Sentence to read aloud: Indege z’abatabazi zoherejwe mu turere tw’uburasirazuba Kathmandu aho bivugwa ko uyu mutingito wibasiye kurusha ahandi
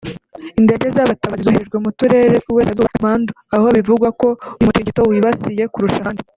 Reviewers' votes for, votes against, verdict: 1, 2, rejected